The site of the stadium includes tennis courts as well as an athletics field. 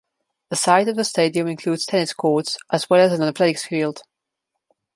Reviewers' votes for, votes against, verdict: 2, 1, accepted